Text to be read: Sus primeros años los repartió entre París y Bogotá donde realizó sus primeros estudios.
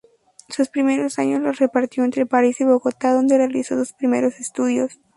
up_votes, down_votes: 2, 0